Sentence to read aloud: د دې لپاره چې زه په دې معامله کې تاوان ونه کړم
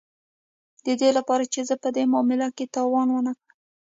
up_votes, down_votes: 2, 0